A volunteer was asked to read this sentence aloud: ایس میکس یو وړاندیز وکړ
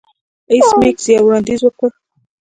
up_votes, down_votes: 2, 1